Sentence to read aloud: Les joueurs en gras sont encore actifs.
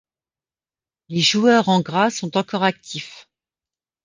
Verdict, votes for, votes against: accepted, 2, 0